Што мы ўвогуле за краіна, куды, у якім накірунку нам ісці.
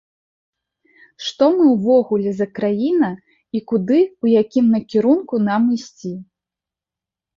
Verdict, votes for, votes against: rejected, 1, 3